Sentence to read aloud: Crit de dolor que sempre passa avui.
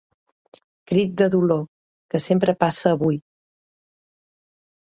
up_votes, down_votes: 2, 0